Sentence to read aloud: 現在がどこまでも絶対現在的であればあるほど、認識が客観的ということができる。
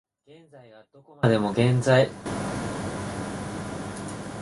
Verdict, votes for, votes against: rejected, 0, 3